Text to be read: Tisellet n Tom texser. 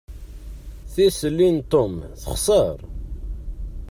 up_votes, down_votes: 0, 2